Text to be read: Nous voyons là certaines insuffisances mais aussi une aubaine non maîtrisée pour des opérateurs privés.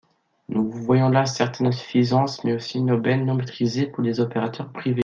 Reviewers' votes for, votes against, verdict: 2, 0, accepted